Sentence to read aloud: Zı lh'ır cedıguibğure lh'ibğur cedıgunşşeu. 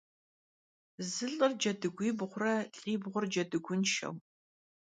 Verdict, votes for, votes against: accepted, 2, 0